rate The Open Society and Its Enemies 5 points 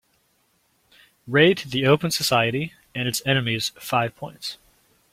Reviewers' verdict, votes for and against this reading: rejected, 0, 2